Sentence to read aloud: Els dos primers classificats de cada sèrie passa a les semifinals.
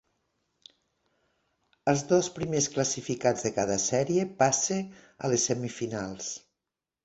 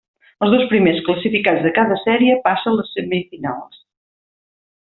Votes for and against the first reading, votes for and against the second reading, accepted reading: 3, 0, 1, 2, first